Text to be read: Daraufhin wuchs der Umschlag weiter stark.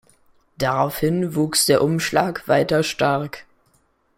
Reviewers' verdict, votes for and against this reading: accepted, 2, 0